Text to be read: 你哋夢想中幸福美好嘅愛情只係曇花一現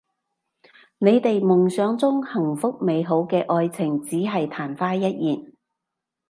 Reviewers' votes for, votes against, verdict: 2, 0, accepted